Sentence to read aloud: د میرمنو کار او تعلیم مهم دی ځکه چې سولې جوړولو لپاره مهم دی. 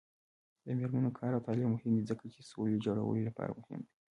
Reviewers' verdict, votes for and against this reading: rejected, 2, 3